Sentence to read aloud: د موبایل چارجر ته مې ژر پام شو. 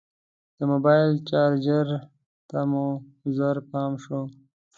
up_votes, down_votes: 2, 0